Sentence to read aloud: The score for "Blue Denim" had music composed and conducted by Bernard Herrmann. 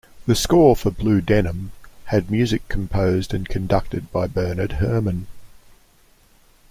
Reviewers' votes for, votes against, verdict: 2, 0, accepted